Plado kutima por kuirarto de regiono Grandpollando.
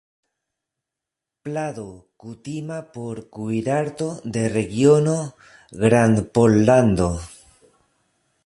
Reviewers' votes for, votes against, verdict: 2, 0, accepted